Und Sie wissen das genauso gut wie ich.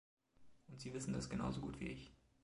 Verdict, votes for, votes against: accepted, 2, 0